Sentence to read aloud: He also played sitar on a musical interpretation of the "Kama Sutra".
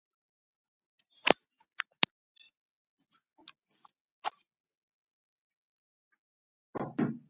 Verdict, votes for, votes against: rejected, 1, 2